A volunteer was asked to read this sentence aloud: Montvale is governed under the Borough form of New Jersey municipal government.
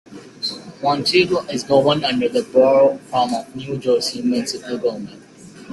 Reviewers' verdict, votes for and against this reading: rejected, 0, 2